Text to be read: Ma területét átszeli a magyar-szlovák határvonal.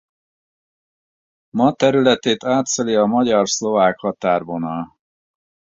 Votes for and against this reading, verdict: 4, 0, accepted